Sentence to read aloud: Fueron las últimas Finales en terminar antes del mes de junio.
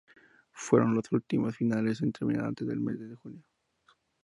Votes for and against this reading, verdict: 0, 4, rejected